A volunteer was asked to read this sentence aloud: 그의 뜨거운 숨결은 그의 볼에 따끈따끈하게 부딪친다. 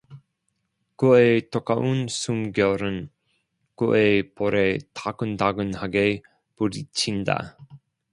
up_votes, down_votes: 0, 2